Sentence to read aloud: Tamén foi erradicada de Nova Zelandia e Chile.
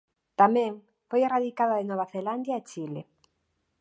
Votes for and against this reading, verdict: 2, 0, accepted